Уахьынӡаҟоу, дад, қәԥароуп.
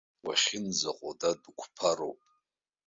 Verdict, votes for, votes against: rejected, 0, 2